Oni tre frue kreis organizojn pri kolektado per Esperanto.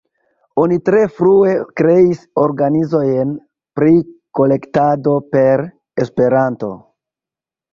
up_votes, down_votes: 2, 0